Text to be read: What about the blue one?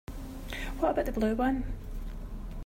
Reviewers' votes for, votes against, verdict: 3, 4, rejected